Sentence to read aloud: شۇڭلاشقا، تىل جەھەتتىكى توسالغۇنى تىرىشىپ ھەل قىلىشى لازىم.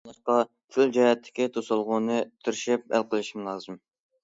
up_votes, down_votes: 0, 2